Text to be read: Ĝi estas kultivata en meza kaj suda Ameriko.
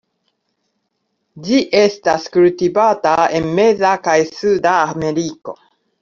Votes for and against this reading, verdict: 2, 0, accepted